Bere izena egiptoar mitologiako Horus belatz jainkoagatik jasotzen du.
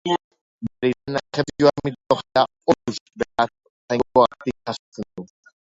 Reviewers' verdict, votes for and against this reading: rejected, 0, 2